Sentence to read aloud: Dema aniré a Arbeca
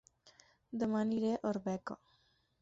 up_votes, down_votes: 6, 0